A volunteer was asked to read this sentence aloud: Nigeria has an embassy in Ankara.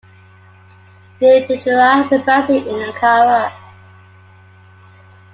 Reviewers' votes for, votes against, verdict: 1, 2, rejected